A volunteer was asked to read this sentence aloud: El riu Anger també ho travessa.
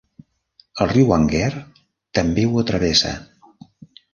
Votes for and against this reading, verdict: 1, 2, rejected